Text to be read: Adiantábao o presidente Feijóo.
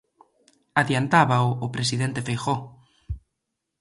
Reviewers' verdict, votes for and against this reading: accepted, 2, 0